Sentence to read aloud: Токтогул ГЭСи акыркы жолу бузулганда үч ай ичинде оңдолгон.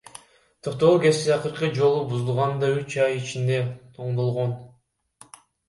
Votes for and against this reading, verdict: 2, 0, accepted